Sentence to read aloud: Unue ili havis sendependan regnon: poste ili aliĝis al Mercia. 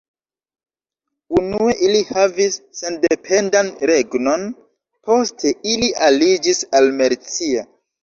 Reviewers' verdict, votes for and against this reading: rejected, 1, 2